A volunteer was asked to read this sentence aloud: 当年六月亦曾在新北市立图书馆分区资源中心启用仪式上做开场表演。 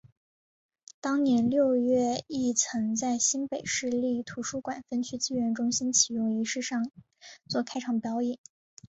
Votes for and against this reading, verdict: 2, 1, accepted